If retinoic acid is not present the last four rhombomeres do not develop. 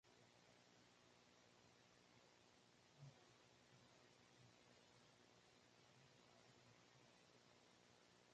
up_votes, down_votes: 0, 2